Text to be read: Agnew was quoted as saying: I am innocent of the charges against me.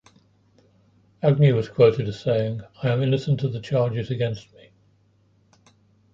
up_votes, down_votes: 2, 0